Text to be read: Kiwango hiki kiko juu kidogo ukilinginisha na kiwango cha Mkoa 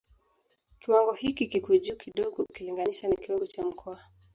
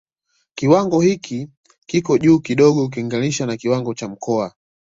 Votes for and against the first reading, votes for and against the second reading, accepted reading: 1, 2, 2, 0, second